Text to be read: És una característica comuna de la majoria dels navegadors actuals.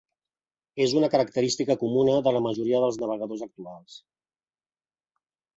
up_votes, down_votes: 3, 0